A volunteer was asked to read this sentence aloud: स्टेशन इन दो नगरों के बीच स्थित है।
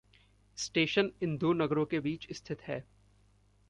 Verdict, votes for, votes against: accepted, 2, 0